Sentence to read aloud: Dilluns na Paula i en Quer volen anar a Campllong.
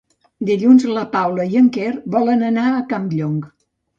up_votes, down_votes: 0, 2